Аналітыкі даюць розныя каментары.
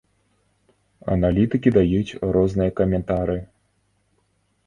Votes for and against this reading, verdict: 0, 2, rejected